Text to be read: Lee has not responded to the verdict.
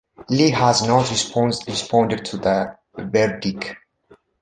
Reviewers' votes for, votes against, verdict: 0, 2, rejected